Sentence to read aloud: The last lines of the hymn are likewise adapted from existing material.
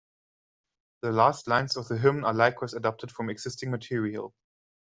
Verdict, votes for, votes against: rejected, 1, 2